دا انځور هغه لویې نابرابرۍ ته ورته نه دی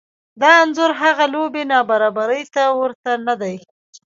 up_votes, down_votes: 0, 2